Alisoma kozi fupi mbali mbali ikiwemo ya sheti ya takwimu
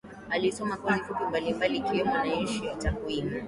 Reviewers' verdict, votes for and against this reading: rejected, 1, 4